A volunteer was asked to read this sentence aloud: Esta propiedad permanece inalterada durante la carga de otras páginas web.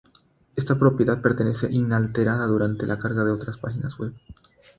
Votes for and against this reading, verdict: 3, 0, accepted